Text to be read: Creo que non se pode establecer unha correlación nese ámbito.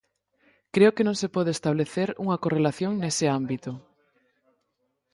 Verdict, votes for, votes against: rejected, 2, 4